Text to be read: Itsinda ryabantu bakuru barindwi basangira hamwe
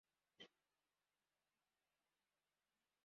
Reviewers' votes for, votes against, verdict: 0, 2, rejected